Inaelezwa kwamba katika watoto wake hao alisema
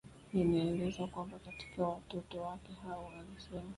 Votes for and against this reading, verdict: 0, 2, rejected